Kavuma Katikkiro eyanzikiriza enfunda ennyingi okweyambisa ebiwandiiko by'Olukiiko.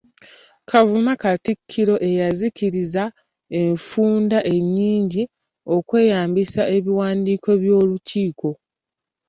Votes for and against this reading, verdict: 2, 0, accepted